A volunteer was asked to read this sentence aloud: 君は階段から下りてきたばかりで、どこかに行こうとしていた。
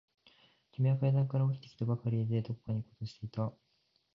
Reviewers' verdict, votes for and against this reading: rejected, 1, 2